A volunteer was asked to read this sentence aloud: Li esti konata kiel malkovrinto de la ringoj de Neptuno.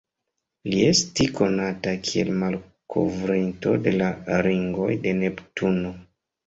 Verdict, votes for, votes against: accepted, 2, 0